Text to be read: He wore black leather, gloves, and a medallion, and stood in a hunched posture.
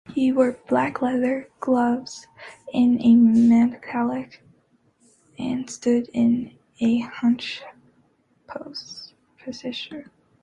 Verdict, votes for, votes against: rejected, 1, 2